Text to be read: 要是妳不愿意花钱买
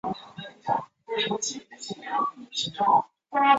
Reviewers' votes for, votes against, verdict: 1, 2, rejected